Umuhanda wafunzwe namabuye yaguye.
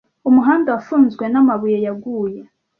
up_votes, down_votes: 2, 0